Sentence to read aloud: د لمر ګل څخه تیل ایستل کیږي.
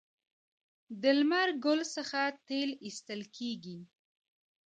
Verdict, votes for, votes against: accepted, 2, 0